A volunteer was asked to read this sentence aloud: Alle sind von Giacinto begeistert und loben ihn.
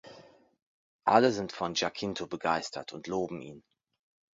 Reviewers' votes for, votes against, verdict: 2, 1, accepted